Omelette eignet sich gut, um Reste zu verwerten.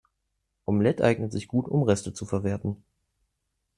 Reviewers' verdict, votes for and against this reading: accepted, 2, 0